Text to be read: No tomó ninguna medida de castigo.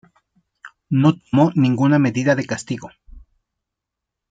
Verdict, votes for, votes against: rejected, 0, 2